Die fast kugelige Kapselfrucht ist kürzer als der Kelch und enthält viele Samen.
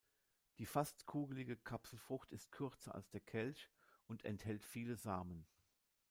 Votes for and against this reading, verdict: 1, 2, rejected